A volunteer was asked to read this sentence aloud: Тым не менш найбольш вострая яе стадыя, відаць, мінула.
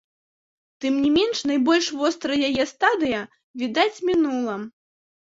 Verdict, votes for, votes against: accepted, 2, 0